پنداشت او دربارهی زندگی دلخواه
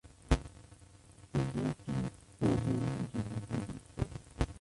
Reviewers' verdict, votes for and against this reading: rejected, 0, 2